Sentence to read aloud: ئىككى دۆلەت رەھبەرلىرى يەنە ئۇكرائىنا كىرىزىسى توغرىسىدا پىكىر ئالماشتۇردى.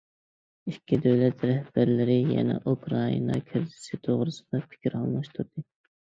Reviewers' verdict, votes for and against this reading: accepted, 2, 0